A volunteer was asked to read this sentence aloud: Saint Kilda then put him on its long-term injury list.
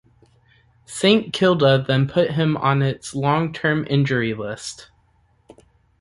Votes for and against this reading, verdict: 2, 0, accepted